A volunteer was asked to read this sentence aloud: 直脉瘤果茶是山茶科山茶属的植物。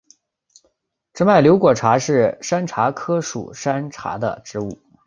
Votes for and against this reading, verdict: 2, 0, accepted